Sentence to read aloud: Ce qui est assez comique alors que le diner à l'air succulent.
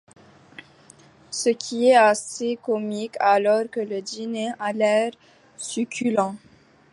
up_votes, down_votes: 2, 0